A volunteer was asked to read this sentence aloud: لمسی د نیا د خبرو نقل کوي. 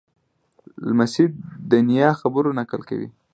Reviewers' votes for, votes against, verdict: 2, 0, accepted